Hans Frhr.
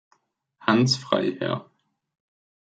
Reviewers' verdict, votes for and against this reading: accepted, 2, 1